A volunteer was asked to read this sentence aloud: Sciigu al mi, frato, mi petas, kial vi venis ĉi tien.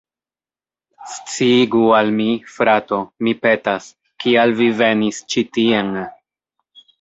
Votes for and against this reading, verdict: 2, 0, accepted